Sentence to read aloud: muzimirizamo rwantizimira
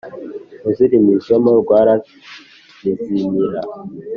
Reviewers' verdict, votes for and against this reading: accepted, 2, 0